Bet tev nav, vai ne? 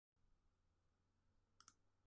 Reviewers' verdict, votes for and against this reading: rejected, 0, 7